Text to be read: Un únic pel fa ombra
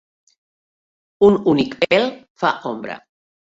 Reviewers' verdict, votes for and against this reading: rejected, 1, 2